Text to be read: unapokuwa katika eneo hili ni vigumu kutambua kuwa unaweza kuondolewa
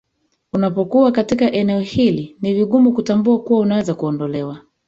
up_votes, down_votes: 1, 2